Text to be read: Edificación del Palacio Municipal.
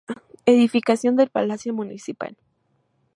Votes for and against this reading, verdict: 4, 0, accepted